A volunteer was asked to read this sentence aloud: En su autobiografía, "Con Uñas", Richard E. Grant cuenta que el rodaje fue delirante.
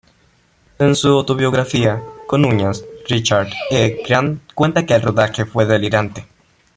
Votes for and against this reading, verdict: 0, 2, rejected